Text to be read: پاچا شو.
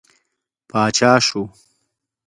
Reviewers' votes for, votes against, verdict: 2, 0, accepted